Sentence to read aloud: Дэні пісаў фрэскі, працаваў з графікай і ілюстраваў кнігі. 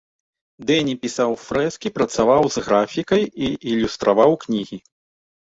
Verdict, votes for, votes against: rejected, 1, 2